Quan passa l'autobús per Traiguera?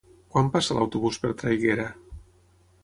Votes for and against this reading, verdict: 9, 0, accepted